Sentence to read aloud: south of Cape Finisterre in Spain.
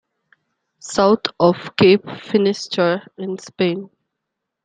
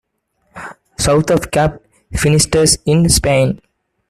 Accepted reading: first